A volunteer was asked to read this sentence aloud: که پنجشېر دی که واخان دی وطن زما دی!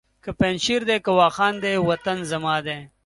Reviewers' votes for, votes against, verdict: 2, 0, accepted